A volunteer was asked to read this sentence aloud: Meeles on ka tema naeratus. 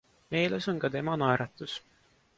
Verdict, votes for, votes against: accepted, 2, 0